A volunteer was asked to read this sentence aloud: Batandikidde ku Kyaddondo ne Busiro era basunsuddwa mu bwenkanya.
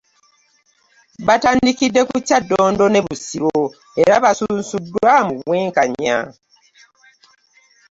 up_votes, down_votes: 2, 0